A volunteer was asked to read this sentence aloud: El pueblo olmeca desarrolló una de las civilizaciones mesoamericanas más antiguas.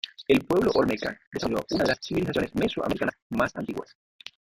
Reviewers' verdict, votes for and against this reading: rejected, 1, 2